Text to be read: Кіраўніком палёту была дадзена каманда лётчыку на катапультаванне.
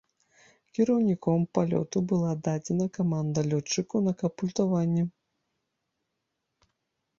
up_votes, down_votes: 1, 2